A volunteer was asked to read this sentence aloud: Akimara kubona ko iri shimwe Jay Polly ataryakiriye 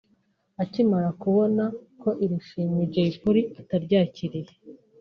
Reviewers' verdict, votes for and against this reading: accepted, 2, 0